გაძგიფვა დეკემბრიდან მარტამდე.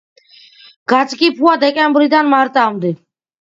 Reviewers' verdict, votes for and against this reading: accepted, 2, 0